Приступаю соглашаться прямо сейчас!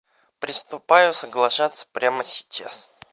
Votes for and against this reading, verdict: 0, 2, rejected